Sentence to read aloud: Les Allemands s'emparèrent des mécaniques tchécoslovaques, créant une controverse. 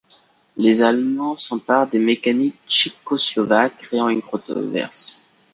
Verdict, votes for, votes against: rejected, 0, 2